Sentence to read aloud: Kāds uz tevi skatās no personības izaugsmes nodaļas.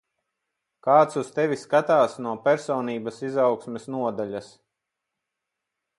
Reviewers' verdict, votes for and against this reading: accepted, 10, 0